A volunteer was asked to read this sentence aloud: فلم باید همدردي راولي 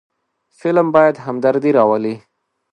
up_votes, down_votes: 2, 0